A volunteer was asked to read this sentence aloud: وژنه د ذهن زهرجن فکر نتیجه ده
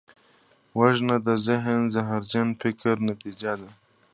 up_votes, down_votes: 1, 2